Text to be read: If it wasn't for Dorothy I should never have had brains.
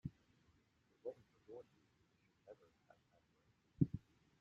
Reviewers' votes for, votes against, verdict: 0, 2, rejected